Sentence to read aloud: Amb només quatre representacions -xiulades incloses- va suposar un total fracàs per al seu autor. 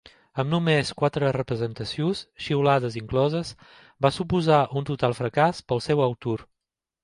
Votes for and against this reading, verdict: 2, 1, accepted